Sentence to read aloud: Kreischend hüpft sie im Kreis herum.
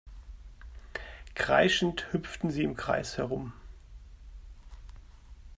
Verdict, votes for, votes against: rejected, 0, 2